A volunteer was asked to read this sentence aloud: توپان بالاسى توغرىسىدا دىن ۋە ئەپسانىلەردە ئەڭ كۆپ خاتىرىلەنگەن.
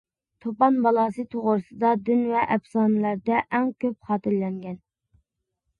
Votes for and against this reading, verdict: 2, 0, accepted